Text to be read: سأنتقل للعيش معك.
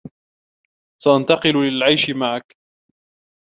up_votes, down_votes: 2, 0